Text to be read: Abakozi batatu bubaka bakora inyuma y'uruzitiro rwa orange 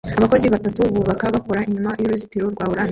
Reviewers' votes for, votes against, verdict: 1, 2, rejected